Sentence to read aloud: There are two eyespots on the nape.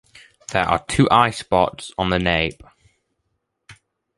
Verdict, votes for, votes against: accepted, 2, 0